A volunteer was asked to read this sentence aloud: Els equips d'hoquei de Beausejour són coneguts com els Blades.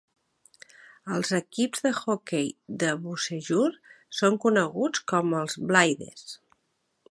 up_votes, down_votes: 0, 2